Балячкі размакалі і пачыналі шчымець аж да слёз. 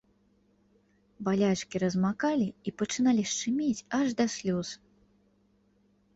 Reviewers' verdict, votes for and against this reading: accepted, 2, 0